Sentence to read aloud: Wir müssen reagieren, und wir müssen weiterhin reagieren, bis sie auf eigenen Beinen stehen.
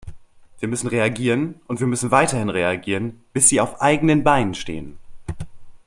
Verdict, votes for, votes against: accepted, 2, 0